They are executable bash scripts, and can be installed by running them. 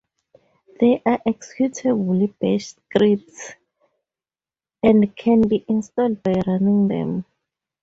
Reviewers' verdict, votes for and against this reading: accepted, 2, 0